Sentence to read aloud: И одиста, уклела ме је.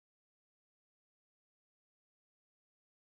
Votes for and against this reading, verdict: 0, 2, rejected